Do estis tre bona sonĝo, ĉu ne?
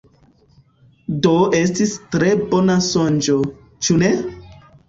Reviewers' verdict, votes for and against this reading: accepted, 2, 1